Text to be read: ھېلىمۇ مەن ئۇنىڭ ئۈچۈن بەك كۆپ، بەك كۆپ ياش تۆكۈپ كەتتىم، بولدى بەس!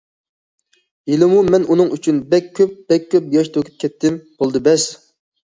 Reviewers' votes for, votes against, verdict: 2, 0, accepted